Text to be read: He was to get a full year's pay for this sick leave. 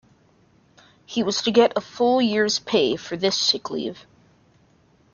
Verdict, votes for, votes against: accepted, 2, 0